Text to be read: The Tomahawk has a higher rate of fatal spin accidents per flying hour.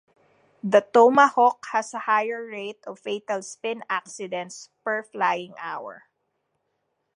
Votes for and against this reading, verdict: 2, 0, accepted